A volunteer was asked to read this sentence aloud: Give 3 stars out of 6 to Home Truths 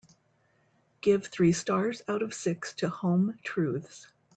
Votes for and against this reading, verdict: 0, 2, rejected